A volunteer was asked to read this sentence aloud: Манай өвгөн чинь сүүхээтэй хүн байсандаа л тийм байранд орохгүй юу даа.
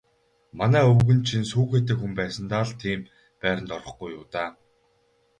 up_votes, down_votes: 4, 0